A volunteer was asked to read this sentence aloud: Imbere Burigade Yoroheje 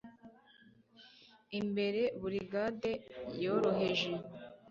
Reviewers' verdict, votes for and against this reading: accepted, 2, 0